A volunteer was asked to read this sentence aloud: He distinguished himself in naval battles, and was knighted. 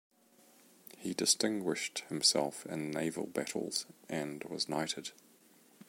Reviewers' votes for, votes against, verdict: 2, 0, accepted